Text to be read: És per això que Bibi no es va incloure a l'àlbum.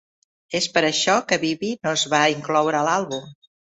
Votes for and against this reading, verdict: 2, 0, accepted